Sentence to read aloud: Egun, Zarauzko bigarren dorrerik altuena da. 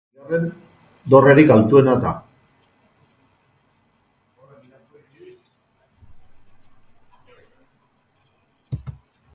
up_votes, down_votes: 0, 4